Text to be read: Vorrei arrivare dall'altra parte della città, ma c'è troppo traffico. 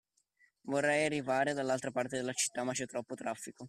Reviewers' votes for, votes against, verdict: 2, 0, accepted